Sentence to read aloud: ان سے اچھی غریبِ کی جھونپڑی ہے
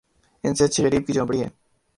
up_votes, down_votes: 2, 2